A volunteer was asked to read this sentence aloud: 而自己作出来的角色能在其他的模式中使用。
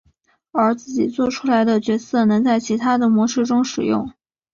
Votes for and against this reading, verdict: 2, 0, accepted